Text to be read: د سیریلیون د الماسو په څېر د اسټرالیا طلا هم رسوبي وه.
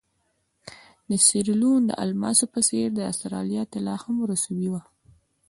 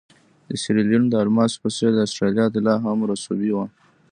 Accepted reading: first